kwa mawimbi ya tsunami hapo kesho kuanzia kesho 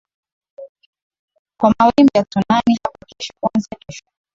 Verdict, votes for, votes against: accepted, 15, 4